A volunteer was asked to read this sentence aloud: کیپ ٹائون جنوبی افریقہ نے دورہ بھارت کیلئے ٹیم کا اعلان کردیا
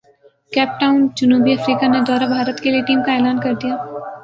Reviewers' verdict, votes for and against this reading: accepted, 7, 0